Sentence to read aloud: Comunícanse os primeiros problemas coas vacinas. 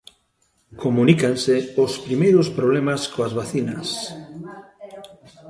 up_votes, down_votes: 1, 2